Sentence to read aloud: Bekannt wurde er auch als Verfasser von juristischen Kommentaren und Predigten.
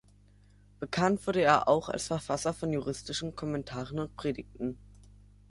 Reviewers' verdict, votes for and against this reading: accepted, 3, 0